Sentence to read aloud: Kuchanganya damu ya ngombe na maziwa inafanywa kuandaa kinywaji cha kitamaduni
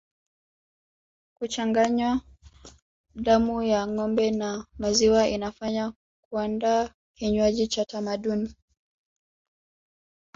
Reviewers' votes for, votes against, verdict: 1, 2, rejected